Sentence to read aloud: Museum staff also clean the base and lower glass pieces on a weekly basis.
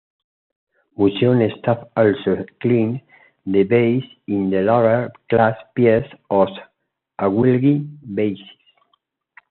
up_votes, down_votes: 1, 2